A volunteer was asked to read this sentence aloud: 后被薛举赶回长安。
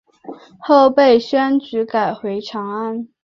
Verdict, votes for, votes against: accepted, 2, 0